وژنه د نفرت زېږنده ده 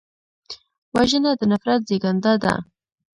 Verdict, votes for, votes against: rejected, 1, 2